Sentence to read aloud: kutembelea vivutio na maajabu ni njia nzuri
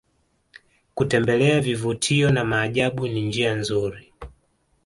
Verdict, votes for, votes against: accepted, 2, 0